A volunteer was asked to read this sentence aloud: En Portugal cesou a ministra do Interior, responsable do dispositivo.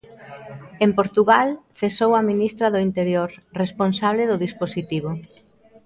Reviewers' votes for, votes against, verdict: 2, 0, accepted